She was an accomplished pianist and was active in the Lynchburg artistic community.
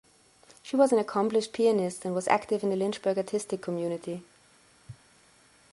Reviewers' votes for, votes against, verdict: 2, 0, accepted